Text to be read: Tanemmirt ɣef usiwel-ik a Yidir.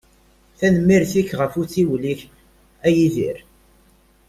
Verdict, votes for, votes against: rejected, 0, 2